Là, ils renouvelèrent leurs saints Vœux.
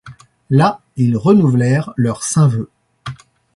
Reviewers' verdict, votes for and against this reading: accepted, 2, 0